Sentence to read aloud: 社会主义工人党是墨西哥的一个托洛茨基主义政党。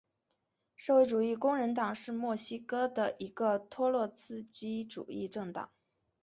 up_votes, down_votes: 5, 1